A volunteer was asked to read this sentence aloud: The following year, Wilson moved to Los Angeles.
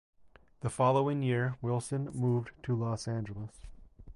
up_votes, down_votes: 2, 0